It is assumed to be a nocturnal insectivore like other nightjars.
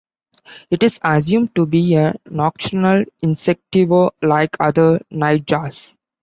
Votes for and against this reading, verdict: 1, 2, rejected